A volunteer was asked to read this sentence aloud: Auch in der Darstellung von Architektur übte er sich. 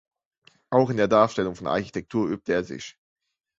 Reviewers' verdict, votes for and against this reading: rejected, 1, 2